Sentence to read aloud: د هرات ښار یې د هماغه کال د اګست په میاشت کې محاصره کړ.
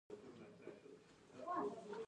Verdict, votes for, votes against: rejected, 0, 2